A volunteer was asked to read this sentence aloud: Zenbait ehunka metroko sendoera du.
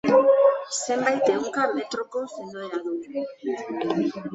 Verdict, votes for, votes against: accepted, 2, 1